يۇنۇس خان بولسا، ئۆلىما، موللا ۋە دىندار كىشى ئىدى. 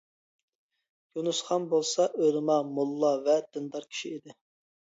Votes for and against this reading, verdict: 2, 0, accepted